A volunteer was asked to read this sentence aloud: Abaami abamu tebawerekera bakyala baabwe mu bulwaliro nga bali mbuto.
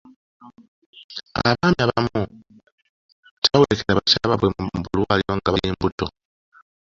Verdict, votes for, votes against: rejected, 1, 2